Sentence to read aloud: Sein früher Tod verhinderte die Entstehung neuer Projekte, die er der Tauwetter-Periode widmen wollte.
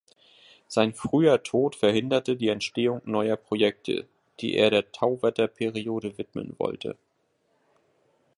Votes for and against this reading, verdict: 2, 0, accepted